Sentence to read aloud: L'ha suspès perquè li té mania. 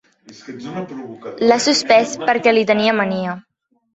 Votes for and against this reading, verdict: 2, 1, accepted